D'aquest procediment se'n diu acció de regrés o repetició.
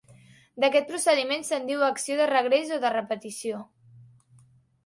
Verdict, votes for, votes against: rejected, 0, 2